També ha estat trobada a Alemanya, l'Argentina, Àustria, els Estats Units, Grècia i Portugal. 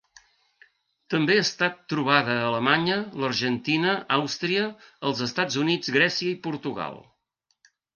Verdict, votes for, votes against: accepted, 2, 1